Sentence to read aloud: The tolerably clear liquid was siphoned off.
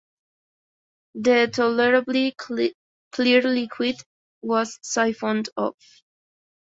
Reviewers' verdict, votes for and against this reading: rejected, 0, 2